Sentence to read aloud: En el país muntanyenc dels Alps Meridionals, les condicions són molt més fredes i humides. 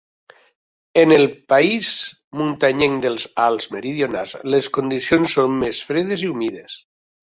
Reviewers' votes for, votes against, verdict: 1, 3, rejected